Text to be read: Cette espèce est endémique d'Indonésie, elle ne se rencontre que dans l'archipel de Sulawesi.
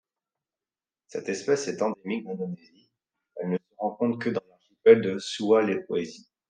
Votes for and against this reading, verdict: 1, 2, rejected